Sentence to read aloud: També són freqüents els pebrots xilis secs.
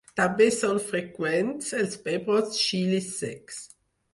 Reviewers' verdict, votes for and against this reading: accepted, 4, 0